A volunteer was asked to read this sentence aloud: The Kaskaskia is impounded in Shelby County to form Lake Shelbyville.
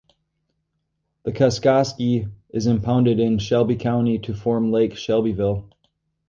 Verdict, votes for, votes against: rejected, 0, 2